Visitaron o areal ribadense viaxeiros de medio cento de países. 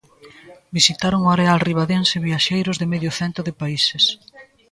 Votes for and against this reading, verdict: 2, 0, accepted